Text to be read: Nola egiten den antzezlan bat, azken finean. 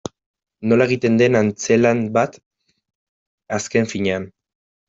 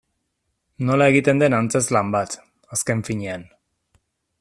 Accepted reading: second